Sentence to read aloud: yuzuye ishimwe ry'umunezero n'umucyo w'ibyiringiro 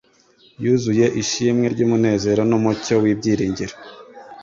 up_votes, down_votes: 2, 0